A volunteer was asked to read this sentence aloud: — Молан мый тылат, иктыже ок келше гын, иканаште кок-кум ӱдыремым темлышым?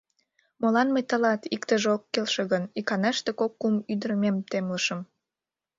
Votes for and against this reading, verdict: 0, 2, rejected